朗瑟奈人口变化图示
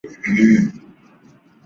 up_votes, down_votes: 2, 3